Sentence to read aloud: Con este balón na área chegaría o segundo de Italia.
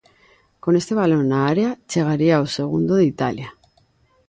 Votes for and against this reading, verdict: 2, 0, accepted